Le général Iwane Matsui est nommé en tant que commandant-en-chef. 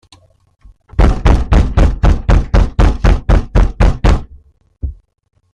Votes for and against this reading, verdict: 0, 2, rejected